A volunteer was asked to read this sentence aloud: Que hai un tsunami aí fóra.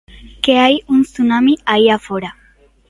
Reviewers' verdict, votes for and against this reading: rejected, 0, 2